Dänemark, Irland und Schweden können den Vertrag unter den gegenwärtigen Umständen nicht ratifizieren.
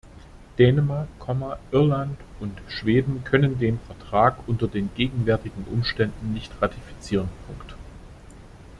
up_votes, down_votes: 0, 2